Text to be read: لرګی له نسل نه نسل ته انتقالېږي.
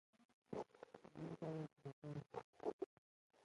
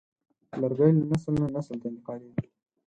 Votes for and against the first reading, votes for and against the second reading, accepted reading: 0, 2, 10, 2, second